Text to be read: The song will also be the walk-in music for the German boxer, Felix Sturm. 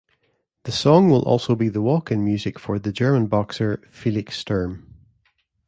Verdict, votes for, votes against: accepted, 2, 0